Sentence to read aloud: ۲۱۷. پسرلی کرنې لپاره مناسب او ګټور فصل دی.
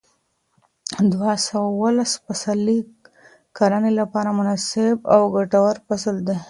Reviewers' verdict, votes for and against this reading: rejected, 0, 2